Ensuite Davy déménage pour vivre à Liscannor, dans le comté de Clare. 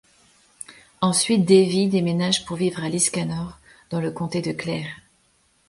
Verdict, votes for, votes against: accepted, 2, 0